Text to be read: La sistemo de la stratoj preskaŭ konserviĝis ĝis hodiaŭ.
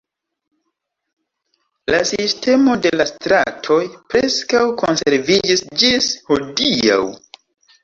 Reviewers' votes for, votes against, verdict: 0, 2, rejected